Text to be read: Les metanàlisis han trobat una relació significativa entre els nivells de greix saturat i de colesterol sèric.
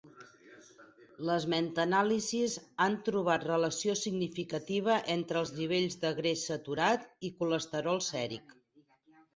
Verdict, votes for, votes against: rejected, 0, 4